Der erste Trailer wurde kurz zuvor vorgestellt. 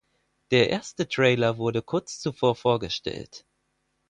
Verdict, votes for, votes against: accepted, 4, 0